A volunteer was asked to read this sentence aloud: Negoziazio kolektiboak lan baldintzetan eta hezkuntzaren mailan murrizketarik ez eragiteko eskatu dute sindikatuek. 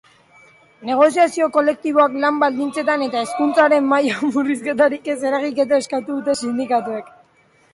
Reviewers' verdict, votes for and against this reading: rejected, 0, 2